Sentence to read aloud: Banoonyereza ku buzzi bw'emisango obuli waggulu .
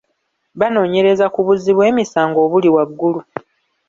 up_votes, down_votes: 0, 2